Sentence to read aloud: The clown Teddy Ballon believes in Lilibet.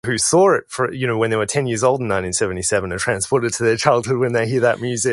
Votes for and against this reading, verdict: 2, 4, rejected